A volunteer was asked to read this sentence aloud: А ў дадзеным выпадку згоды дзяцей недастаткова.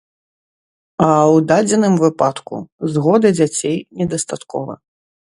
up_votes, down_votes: 1, 2